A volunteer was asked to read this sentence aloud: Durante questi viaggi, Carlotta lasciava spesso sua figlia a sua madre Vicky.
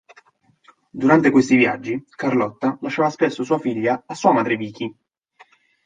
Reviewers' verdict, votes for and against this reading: accepted, 2, 0